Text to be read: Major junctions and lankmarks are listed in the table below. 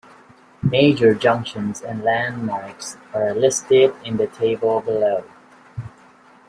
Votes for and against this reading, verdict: 2, 0, accepted